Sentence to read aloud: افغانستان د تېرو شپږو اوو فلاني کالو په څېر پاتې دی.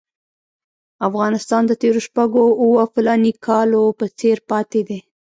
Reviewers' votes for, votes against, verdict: 1, 2, rejected